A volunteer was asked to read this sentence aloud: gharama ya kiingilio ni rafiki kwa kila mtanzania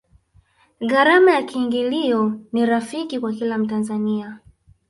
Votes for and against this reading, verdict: 1, 2, rejected